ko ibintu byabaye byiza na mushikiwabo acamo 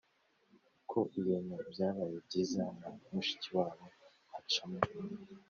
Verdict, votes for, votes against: accepted, 3, 0